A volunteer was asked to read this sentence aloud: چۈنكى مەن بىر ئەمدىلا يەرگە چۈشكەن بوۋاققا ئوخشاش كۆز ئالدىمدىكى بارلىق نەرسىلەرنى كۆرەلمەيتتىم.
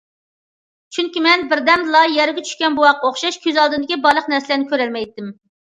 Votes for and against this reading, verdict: 0, 2, rejected